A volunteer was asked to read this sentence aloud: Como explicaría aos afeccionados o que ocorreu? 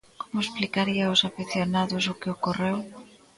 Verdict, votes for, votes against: accepted, 2, 0